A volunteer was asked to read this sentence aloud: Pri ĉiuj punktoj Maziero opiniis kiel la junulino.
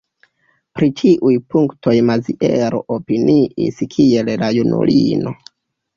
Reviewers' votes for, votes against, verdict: 1, 2, rejected